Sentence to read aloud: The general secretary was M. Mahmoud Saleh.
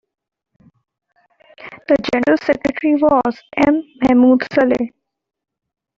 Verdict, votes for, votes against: rejected, 0, 2